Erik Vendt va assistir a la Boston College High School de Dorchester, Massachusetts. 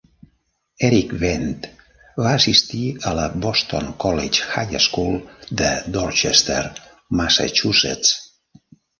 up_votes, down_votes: 2, 0